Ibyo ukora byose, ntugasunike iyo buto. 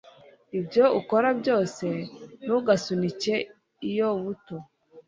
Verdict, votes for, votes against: accepted, 2, 0